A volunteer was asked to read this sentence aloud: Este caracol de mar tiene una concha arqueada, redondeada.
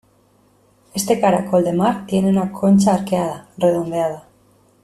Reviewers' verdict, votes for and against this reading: accepted, 2, 0